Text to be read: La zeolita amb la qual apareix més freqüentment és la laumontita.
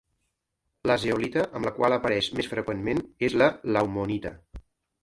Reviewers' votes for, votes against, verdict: 1, 2, rejected